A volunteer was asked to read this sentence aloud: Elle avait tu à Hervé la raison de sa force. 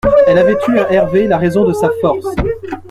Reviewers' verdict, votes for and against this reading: rejected, 0, 2